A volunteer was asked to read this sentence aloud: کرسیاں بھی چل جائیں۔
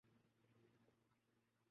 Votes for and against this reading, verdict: 0, 3, rejected